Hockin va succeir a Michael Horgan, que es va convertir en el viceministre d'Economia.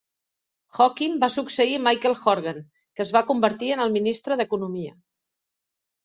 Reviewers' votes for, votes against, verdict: 0, 2, rejected